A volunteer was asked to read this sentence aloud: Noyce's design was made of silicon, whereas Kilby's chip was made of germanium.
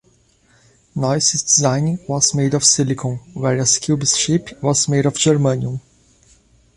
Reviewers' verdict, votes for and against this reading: rejected, 0, 3